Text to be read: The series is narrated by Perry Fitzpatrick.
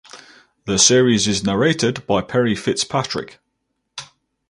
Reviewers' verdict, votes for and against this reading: accepted, 4, 0